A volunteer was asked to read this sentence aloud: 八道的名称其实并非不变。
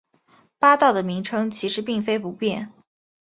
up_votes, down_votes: 2, 0